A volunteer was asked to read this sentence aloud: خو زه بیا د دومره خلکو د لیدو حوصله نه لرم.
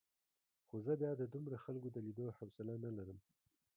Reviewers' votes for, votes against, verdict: 2, 0, accepted